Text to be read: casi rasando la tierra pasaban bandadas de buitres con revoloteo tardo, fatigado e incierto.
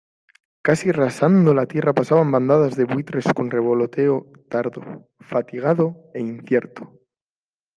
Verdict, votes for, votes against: accepted, 2, 0